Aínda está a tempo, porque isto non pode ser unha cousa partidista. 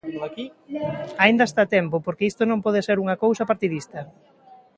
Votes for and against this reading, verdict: 1, 2, rejected